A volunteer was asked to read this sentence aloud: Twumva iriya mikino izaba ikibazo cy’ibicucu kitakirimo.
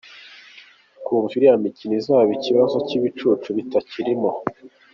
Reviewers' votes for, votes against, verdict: 2, 0, accepted